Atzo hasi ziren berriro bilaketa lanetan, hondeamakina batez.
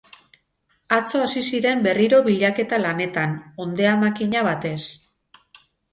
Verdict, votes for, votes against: accepted, 2, 0